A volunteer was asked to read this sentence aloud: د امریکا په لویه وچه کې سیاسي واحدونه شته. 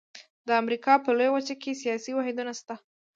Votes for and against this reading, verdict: 1, 2, rejected